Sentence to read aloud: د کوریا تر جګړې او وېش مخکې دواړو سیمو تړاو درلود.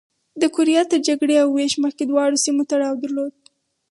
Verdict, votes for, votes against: accepted, 6, 0